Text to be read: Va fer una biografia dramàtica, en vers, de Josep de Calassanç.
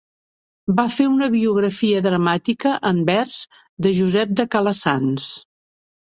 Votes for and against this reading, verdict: 2, 0, accepted